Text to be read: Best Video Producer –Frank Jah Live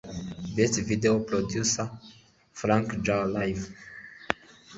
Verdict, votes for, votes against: rejected, 1, 2